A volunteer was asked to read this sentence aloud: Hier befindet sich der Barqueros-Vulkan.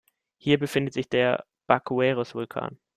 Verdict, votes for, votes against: rejected, 0, 2